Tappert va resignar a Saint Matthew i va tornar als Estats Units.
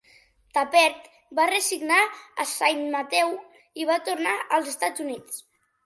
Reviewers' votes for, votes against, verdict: 2, 1, accepted